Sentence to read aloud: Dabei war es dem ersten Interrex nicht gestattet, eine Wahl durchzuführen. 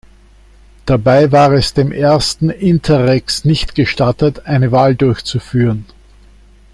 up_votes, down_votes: 2, 0